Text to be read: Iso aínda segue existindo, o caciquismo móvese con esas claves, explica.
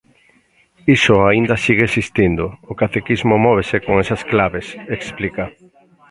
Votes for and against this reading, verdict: 1, 2, rejected